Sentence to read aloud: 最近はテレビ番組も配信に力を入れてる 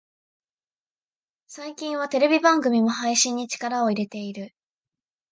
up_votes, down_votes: 0, 2